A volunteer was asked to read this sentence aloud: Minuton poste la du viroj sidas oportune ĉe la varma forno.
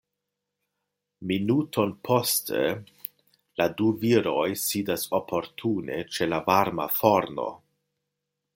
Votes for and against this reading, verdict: 2, 0, accepted